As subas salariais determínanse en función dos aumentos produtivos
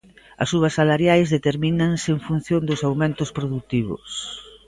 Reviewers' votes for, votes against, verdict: 2, 0, accepted